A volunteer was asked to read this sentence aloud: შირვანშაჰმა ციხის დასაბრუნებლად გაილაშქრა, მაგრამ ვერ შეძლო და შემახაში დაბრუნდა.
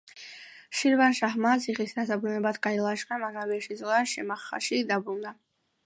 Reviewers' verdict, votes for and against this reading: accepted, 2, 0